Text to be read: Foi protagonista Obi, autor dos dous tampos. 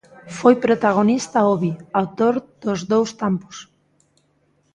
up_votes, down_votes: 0, 2